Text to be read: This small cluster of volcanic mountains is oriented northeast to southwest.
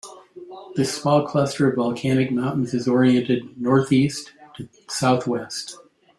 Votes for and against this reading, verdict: 2, 1, accepted